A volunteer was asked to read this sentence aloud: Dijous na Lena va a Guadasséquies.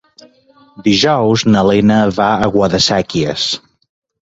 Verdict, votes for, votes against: accepted, 2, 0